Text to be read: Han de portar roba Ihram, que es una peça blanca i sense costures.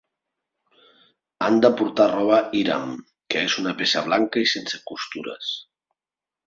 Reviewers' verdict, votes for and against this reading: accepted, 2, 0